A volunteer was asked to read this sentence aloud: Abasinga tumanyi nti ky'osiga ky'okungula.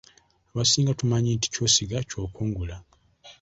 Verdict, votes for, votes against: accepted, 2, 0